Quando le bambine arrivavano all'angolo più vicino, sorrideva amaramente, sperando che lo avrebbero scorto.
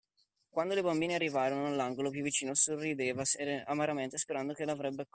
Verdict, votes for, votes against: rejected, 0, 2